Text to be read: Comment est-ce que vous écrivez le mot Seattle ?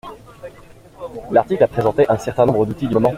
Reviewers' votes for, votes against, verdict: 0, 2, rejected